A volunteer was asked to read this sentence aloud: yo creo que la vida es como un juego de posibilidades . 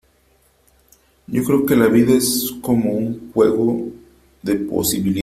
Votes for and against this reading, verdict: 1, 2, rejected